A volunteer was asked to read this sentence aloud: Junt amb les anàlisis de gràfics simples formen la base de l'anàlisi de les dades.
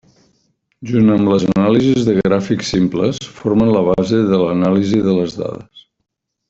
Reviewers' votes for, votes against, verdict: 1, 2, rejected